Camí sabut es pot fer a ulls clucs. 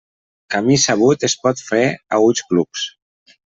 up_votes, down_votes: 2, 0